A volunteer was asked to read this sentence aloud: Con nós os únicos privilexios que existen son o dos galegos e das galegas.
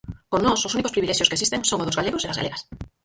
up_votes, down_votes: 0, 4